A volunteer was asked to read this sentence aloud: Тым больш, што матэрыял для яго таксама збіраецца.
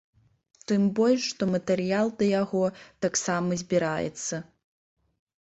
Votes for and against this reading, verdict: 1, 2, rejected